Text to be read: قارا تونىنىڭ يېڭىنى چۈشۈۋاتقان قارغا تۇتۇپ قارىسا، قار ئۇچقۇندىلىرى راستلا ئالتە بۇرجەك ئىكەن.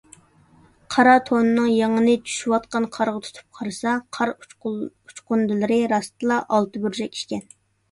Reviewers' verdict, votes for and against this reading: rejected, 0, 2